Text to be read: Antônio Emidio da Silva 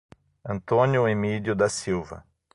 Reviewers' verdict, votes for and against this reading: accepted, 6, 0